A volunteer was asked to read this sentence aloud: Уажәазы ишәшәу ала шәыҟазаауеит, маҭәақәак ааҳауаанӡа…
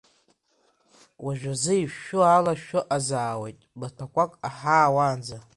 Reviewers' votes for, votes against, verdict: 1, 2, rejected